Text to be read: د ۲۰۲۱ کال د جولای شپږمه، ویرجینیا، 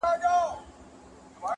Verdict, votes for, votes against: rejected, 0, 2